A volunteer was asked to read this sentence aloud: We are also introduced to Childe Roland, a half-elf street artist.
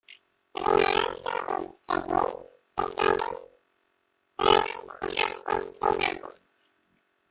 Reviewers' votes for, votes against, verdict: 0, 2, rejected